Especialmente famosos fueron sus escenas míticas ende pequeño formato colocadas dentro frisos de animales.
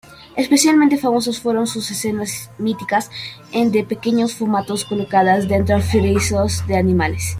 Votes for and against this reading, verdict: 1, 2, rejected